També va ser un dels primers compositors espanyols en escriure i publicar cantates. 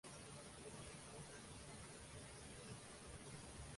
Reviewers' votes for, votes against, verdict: 0, 2, rejected